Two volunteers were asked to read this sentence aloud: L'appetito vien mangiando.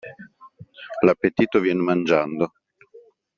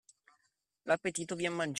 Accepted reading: first